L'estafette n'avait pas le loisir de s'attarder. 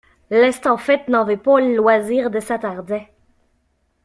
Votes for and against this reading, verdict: 2, 0, accepted